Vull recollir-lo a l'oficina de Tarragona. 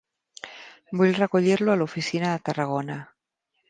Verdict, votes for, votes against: accepted, 3, 0